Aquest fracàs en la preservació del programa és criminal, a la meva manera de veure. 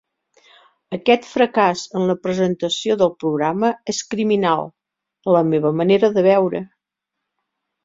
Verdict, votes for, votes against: rejected, 0, 2